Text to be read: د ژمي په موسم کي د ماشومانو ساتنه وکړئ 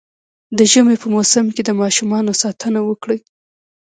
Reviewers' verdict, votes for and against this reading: rejected, 1, 2